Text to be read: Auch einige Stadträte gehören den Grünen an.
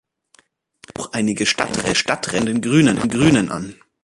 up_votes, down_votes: 0, 2